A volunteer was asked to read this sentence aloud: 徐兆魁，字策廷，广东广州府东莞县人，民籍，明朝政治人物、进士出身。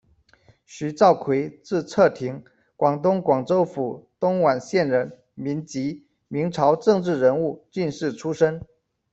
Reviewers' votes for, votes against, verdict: 0, 2, rejected